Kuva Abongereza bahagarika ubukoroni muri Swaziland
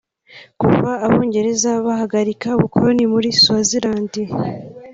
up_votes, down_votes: 1, 2